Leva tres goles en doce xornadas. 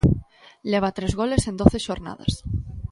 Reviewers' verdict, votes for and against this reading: accepted, 2, 0